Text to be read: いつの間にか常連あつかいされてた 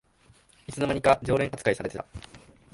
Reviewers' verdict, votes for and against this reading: rejected, 0, 2